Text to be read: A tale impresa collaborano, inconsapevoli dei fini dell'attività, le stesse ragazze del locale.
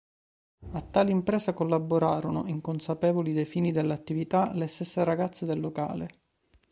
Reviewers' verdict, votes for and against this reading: rejected, 0, 2